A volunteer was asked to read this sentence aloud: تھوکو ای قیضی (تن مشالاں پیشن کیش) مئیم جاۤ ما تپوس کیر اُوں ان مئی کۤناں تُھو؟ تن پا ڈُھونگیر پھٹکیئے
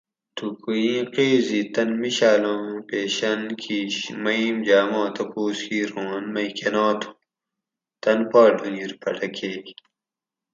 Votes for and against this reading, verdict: 4, 0, accepted